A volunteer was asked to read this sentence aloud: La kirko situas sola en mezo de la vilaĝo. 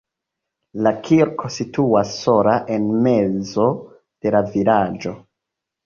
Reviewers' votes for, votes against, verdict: 0, 2, rejected